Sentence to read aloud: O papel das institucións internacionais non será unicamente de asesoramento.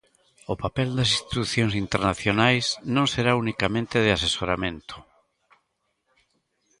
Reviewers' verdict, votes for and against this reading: rejected, 1, 2